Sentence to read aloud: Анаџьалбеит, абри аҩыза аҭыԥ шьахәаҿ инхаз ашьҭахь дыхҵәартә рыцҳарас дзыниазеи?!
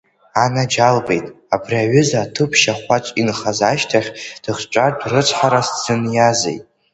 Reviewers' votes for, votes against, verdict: 2, 0, accepted